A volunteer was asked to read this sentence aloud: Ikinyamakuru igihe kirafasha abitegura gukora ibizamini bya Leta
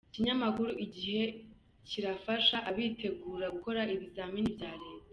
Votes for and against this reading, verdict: 1, 2, rejected